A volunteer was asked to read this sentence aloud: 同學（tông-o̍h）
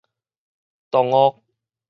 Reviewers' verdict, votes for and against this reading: rejected, 2, 2